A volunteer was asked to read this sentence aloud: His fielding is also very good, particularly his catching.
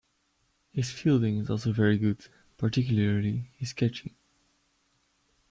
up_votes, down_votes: 2, 0